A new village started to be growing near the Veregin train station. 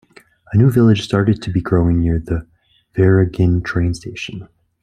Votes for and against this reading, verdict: 1, 2, rejected